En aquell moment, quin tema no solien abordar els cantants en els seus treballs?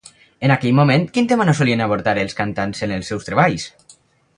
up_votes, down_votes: 2, 2